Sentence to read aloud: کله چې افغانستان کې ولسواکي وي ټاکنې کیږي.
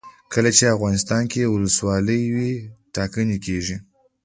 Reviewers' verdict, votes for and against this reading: rejected, 0, 2